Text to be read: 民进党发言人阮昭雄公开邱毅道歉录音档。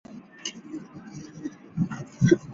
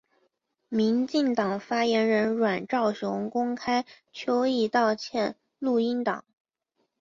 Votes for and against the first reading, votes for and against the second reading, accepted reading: 0, 3, 7, 0, second